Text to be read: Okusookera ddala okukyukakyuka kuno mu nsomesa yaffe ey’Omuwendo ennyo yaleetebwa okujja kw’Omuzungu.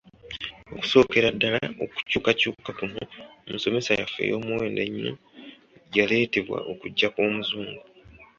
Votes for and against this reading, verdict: 2, 0, accepted